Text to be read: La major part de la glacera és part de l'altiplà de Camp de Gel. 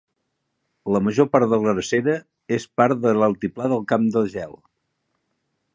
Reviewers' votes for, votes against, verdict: 1, 2, rejected